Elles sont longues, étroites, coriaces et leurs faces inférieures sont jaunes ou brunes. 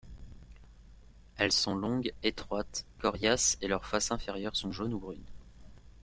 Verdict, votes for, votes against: accepted, 2, 0